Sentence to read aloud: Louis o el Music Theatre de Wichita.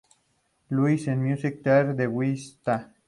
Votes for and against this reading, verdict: 0, 2, rejected